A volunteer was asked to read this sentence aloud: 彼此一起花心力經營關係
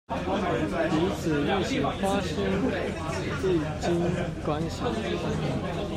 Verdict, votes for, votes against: rejected, 1, 2